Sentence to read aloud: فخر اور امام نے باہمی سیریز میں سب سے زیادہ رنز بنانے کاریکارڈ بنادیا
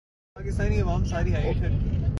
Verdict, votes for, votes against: rejected, 1, 2